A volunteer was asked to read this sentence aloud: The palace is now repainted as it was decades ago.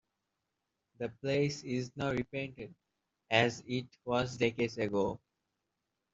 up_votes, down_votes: 0, 2